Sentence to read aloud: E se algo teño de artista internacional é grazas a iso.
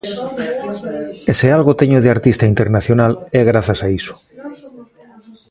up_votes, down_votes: 2, 0